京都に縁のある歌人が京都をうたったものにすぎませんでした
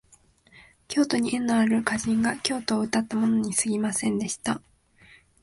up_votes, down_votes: 2, 1